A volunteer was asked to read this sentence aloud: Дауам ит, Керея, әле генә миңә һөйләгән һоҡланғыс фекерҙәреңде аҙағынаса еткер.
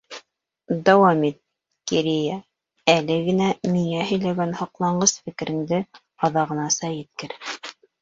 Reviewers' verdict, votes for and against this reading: rejected, 0, 2